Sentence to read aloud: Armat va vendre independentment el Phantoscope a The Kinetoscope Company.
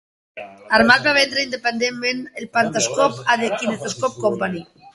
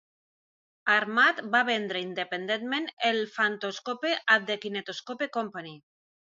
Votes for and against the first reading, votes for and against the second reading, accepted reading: 1, 2, 3, 0, second